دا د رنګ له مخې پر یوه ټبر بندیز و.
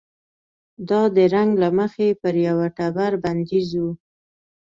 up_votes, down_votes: 2, 0